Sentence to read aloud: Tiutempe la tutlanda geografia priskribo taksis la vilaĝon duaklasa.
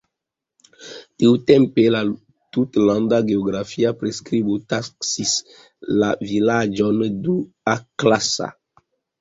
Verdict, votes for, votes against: accepted, 2, 0